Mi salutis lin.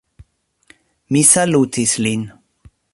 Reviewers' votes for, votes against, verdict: 2, 0, accepted